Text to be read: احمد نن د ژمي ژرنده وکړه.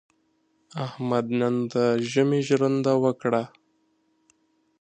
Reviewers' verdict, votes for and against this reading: accepted, 2, 0